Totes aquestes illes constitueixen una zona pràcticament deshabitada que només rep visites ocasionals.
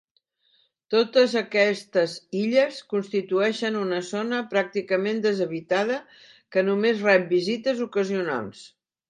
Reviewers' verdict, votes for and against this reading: accepted, 2, 0